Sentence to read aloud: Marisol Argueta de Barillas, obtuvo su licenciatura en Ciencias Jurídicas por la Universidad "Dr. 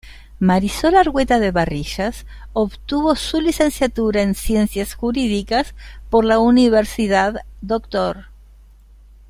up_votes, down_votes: 1, 2